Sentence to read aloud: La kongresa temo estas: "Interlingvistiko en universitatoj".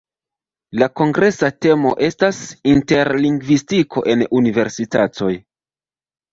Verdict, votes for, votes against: accepted, 2, 1